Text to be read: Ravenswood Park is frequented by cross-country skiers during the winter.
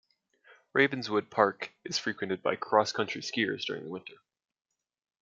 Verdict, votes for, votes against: accepted, 2, 0